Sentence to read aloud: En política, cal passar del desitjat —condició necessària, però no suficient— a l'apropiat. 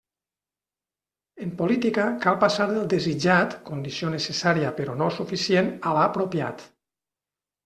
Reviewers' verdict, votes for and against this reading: rejected, 0, 2